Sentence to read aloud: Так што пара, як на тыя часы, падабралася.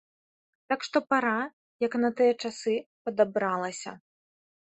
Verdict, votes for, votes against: rejected, 1, 2